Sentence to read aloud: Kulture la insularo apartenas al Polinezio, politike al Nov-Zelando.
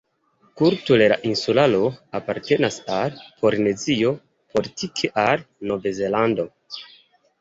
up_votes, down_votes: 2, 0